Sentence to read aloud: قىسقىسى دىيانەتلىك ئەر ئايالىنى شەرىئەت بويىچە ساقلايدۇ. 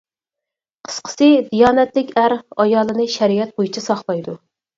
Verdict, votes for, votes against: accepted, 4, 0